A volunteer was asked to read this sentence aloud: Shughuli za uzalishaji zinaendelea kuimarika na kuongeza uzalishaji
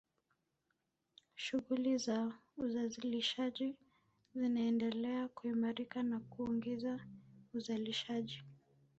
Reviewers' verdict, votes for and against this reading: rejected, 2, 3